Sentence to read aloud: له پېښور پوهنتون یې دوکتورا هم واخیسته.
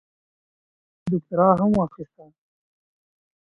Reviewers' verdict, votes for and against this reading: rejected, 1, 2